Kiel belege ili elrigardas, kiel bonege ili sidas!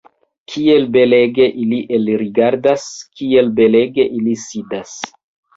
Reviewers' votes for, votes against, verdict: 1, 2, rejected